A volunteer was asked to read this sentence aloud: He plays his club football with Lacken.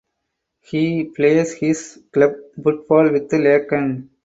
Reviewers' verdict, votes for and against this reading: rejected, 2, 4